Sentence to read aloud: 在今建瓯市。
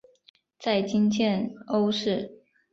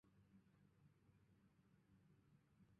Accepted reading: first